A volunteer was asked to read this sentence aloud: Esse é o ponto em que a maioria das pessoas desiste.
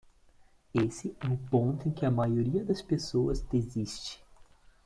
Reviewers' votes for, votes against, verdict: 1, 2, rejected